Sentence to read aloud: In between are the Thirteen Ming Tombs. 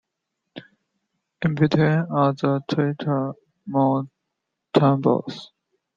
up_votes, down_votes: 0, 2